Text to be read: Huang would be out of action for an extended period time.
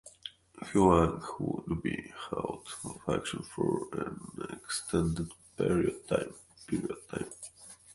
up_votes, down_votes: 1, 2